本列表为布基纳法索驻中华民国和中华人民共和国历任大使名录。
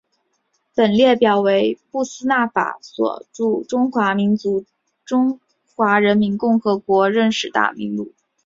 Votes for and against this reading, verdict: 1, 3, rejected